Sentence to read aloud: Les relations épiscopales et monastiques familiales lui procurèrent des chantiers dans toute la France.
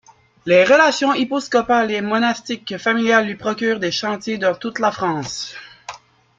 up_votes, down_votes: 0, 2